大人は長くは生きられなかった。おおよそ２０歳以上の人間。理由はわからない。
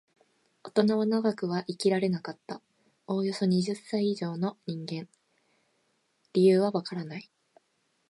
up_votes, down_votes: 0, 2